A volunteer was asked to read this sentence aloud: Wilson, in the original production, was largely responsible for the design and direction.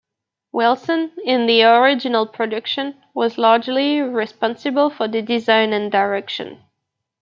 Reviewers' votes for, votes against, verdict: 2, 1, accepted